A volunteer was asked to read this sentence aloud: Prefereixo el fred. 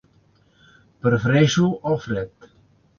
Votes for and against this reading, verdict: 3, 0, accepted